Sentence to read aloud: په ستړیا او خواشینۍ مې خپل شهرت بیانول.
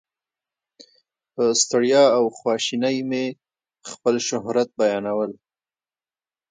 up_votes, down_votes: 1, 2